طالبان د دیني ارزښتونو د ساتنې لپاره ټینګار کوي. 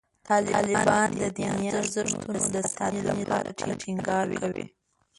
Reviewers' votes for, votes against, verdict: 0, 2, rejected